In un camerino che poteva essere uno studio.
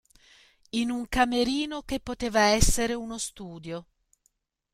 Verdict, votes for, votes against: accepted, 2, 1